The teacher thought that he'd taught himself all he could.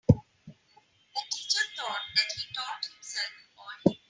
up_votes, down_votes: 0, 3